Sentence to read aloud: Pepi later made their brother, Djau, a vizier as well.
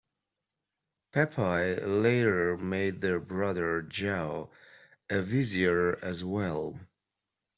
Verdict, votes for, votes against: rejected, 0, 2